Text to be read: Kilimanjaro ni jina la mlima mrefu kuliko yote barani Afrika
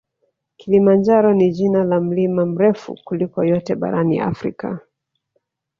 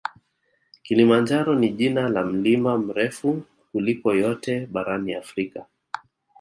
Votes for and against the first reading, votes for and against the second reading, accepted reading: 0, 2, 2, 0, second